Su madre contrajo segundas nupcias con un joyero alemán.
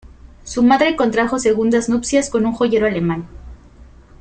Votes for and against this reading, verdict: 2, 0, accepted